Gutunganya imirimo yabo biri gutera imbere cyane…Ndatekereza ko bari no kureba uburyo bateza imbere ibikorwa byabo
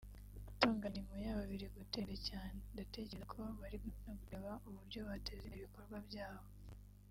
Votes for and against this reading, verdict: 2, 1, accepted